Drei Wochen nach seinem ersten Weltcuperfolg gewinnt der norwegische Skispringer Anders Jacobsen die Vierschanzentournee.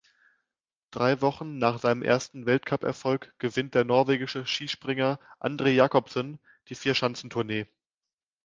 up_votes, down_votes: 0, 2